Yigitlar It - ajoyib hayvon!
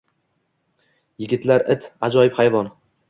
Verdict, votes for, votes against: accepted, 2, 0